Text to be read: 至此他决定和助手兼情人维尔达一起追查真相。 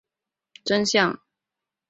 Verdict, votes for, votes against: rejected, 1, 3